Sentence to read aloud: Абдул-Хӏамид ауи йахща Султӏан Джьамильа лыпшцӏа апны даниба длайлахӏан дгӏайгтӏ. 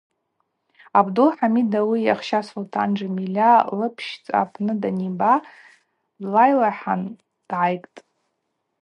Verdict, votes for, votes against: accepted, 2, 0